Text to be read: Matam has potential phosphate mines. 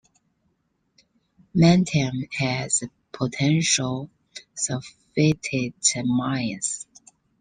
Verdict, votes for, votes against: rejected, 1, 2